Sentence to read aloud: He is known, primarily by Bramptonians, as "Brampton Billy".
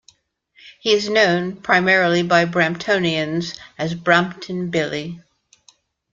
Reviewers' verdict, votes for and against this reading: accepted, 2, 0